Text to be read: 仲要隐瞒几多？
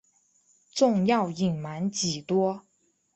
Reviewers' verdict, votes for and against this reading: accepted, 4, 1